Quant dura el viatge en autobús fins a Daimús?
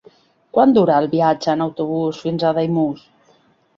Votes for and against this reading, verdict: 3, 0, accepted